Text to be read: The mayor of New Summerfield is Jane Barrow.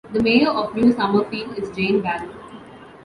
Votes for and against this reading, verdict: 2, 0, accepted